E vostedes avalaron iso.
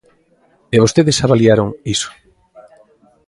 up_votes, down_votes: 0, 2